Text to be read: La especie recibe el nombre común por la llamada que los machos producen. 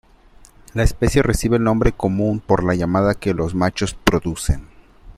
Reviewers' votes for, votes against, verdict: 2, 0, accepted